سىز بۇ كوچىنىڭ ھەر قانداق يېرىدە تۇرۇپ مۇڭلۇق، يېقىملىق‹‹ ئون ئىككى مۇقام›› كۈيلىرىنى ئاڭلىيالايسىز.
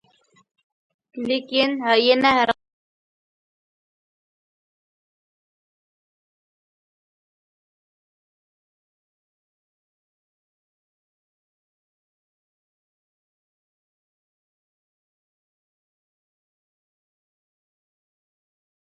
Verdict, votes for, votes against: rejected, 0, 3